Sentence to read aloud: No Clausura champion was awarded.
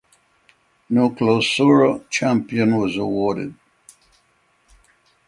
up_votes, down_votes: 6, 0